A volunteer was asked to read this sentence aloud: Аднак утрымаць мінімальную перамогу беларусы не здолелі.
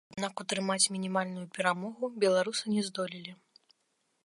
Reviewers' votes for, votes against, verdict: 0, 2, rejected